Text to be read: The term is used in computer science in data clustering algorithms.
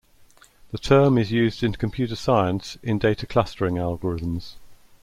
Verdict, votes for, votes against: accepted, 2, 0